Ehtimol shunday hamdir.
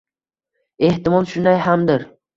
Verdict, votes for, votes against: accepted, 2, 0